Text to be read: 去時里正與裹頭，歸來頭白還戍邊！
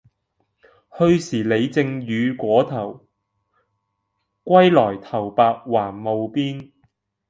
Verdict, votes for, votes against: rejected, 0, 2